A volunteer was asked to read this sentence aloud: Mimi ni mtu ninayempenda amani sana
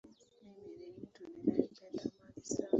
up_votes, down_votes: 1, 2